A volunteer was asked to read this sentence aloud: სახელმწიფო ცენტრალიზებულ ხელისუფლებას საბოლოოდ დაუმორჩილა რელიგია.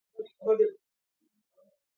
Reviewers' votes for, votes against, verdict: 0, 2, rejected